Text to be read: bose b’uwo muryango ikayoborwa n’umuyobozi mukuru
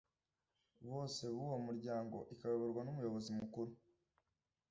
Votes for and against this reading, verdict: 2, 0, accepted